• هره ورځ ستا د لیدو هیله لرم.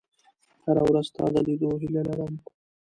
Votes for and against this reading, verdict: 2, 0, accepted